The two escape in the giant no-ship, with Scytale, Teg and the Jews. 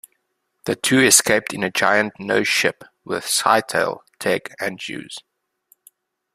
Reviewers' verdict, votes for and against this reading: rejected, 1, 2